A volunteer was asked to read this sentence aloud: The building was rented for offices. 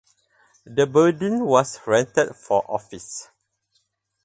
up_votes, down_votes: 0, 2